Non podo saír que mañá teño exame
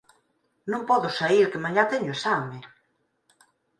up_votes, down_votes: 4, 0